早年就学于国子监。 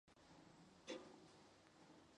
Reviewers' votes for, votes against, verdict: 2, 0, accepted